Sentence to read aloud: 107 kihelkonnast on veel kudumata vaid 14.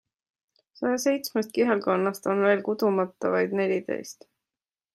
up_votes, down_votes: 0, 2